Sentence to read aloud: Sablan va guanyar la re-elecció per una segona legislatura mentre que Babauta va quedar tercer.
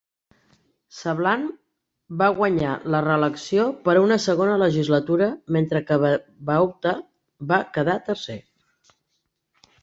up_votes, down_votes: 1, 2